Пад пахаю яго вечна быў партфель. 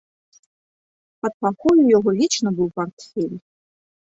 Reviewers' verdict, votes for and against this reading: rejected, 0, 2